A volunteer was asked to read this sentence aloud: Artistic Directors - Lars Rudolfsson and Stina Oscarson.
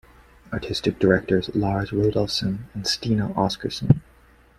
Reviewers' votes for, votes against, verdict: 2, 0, accepted